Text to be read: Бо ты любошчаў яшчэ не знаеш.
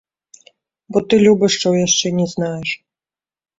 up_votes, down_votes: 0, 2